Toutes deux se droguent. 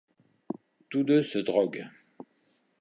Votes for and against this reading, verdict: 0, 2, rejected